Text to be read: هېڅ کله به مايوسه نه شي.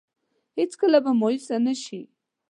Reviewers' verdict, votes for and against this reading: accepted, 2, 0